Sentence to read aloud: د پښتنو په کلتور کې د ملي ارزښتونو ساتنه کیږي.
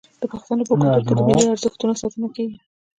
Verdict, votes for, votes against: rejected, 0, 2